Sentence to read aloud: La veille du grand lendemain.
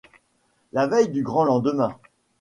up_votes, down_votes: 2, 0